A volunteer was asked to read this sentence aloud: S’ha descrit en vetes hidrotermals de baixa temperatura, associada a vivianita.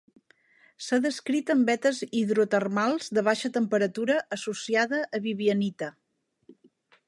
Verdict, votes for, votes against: accepted, 2, 0